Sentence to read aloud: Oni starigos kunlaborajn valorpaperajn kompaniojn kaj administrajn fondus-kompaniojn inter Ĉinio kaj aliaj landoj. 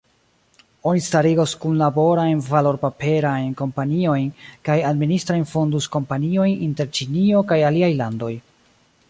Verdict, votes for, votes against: rejected, 1, 2